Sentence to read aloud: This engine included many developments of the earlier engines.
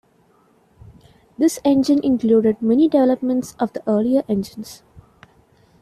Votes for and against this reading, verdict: 2, 0, accepted